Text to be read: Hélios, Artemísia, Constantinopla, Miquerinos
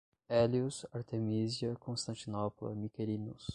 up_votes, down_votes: 0, 5